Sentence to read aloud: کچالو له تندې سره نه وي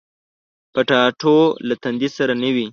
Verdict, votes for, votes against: rejected, 1, 2